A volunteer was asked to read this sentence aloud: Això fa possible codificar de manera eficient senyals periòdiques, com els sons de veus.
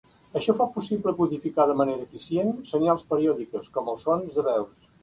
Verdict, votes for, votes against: accepted, 4, 0